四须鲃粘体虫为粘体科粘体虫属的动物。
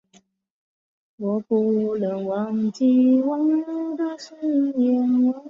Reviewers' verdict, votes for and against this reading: rejected, 0, 2